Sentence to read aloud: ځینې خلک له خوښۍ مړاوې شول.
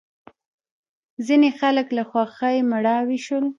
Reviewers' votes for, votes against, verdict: 2, 1, accepted